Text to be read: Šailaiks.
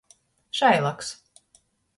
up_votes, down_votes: 0, 2